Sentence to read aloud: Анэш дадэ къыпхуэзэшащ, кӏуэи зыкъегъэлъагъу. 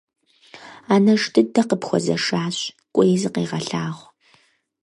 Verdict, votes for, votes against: rejected, 0, 4